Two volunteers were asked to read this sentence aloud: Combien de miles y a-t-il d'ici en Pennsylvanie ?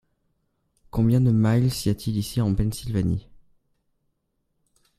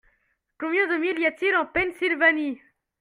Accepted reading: second